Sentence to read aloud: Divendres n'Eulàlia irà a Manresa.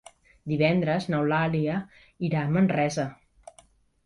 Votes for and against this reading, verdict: 3, 0, accepted